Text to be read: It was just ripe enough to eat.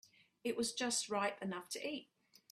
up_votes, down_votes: 2, 0